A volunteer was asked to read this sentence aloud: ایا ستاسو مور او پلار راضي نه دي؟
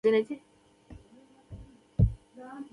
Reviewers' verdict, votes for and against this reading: rejected, 1, 2